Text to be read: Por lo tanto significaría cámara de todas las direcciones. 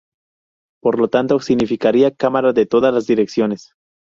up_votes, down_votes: 2, 0